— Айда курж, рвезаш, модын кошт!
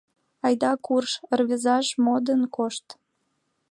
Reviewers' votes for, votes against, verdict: 2, 0, accepted